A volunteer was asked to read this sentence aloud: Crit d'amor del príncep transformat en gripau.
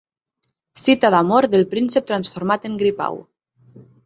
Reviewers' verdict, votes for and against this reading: rejected, 0, 6